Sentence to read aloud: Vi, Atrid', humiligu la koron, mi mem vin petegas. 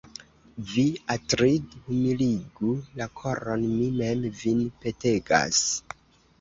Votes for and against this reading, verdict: 1, 2, rejected